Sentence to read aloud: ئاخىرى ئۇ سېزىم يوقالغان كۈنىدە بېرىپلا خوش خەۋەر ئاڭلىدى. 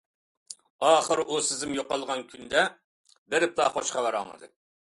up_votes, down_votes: 2, 1